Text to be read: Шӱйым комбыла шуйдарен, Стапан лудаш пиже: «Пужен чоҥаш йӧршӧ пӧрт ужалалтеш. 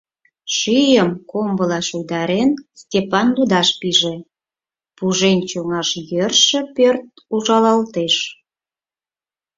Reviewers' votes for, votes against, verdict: 2, 4, rejected